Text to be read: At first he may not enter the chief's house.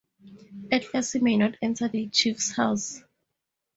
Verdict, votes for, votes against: accepted, 2, 0